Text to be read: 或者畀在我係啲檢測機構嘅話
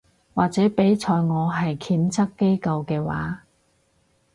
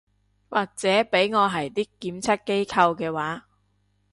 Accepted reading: first